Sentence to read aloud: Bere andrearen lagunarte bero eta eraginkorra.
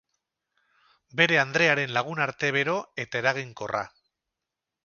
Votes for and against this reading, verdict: 4, 0, accepted